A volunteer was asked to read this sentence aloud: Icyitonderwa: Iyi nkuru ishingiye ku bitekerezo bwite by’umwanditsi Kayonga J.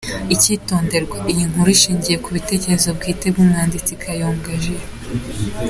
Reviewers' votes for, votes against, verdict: 2, 0, accepted